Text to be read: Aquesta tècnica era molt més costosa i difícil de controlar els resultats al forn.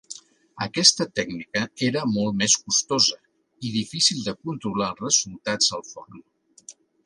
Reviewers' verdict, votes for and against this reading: accepted, 2, 0